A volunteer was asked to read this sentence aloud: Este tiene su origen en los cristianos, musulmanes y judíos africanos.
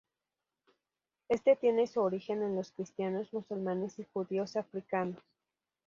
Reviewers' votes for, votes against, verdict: 2, 0, accepted